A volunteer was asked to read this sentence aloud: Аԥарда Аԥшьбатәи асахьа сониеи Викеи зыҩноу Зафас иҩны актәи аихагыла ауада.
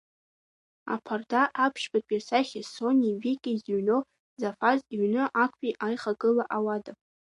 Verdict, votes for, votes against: accepted, 2, 0